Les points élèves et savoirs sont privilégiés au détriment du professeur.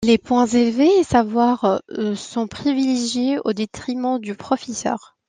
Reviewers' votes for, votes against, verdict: 0, 2, rejected